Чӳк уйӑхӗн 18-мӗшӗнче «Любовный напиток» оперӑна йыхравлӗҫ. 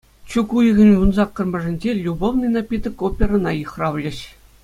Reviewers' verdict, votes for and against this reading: rejected, 0, 2